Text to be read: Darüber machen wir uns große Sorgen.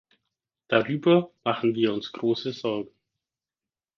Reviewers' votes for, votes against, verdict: 2, 4, rejected